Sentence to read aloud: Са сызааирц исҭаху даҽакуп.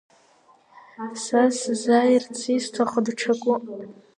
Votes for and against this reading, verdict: 2, 0, accepted